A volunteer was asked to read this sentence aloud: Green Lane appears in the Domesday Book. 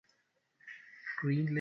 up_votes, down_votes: 0, 2